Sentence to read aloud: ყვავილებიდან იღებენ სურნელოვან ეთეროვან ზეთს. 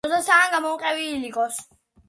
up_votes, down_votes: 0, 3